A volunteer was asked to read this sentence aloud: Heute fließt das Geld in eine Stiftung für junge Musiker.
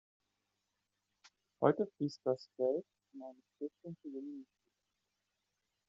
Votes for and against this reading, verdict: 0, 2, rejected